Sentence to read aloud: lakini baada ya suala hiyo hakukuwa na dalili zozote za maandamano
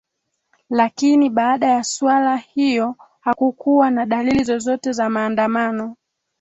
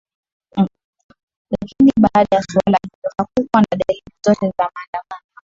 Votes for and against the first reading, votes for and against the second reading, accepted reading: 2, 0, 1, 2, first